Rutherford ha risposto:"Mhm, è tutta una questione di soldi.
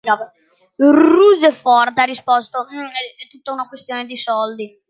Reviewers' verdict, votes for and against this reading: rejected, 0, 2